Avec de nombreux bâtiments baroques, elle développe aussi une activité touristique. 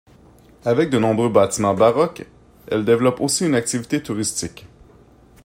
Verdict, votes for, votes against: accepted, 2, 0